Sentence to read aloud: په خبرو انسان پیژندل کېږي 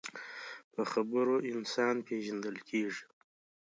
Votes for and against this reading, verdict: 2, 0, accepted